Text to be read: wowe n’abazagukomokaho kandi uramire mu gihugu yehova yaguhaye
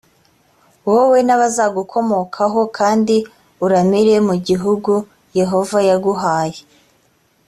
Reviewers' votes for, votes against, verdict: 2, 0, accepted